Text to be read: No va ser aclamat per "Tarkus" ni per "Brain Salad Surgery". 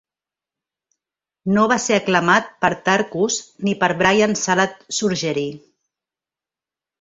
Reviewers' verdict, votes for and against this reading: rejected, 0, 2